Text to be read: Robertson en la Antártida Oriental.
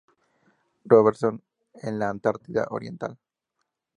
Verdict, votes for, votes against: accepted, 2, 0